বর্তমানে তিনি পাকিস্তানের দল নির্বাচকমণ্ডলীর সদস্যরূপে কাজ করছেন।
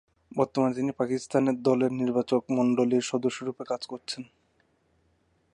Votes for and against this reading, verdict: 1, 2, rejected